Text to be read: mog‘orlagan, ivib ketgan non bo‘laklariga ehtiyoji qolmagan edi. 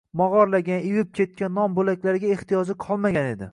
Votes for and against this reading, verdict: 2, 0, accepted